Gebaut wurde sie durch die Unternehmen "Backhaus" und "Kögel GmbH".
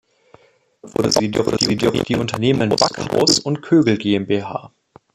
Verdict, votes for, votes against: rejected, 0, 2